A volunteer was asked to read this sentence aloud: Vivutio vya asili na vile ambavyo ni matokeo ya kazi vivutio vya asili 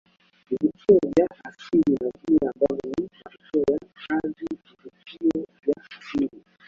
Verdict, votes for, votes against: rejected, 0, 2